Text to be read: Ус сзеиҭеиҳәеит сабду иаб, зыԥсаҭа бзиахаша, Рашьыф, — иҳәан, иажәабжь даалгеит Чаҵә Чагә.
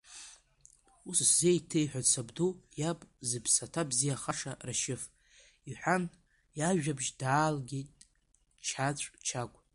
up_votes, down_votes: 2, 1